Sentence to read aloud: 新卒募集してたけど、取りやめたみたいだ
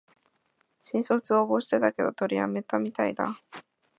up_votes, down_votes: 1, 2